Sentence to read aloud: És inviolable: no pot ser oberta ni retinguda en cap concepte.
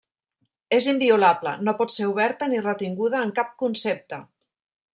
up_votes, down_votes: 0, 2